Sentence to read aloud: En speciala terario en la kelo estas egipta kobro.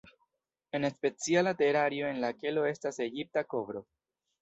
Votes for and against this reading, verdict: 1, 2, rejected